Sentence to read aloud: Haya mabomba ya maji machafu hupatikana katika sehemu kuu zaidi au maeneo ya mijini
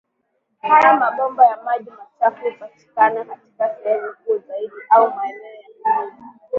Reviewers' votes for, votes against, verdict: 1, 2, rejected